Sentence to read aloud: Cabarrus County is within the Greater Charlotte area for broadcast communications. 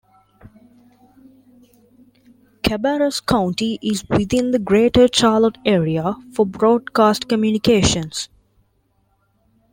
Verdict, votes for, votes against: accepted, 2, 0